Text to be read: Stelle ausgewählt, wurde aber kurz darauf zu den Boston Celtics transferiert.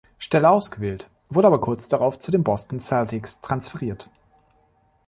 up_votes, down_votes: 2, 0